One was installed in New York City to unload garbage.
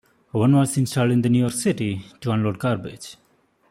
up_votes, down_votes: 2, 0